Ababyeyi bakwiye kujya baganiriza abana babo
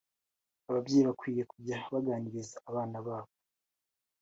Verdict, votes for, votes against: accepted, 3, 0